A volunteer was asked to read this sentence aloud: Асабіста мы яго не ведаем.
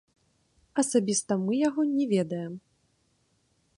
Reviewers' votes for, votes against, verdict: 0, 2, rejected